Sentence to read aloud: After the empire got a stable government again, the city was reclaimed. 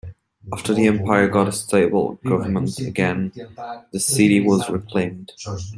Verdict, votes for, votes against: rejected, 1, 2